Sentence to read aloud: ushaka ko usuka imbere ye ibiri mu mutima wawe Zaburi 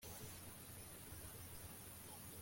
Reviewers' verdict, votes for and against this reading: rejected, 1, 2